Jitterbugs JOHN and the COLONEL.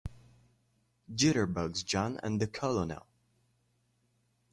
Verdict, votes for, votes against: rejected, 1, 3